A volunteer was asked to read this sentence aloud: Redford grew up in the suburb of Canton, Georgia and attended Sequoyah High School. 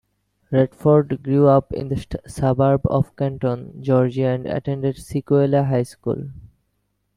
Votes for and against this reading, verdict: 0, 2, rejected